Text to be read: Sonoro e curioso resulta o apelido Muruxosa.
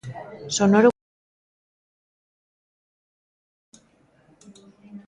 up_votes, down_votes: 0, 2